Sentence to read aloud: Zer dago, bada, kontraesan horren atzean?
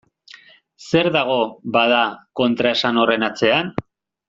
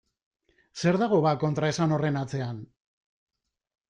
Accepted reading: first